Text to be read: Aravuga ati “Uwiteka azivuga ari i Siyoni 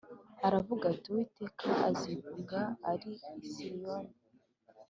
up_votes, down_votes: 2, 0